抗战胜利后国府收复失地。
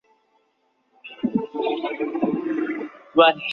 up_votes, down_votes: 3, 6